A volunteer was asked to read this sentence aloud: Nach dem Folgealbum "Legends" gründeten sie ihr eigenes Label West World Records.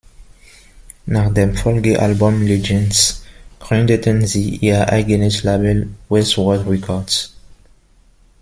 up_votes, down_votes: 0, 2